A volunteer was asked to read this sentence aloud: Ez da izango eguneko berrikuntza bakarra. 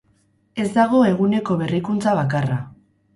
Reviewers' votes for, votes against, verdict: 0, 4, rejected